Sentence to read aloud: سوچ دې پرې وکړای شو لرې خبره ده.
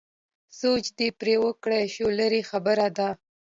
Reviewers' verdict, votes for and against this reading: accepted, 2, 0